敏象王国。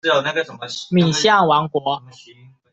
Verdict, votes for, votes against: rejected, 0, 2